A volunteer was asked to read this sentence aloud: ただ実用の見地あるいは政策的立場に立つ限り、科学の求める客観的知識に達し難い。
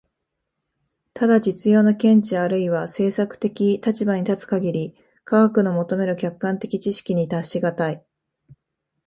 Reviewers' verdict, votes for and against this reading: accepted, 2, 0